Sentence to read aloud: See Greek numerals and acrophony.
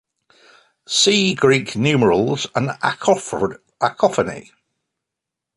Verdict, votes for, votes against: rejected, 0, 2